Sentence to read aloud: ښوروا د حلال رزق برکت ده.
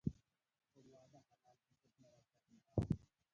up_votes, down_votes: 0, 2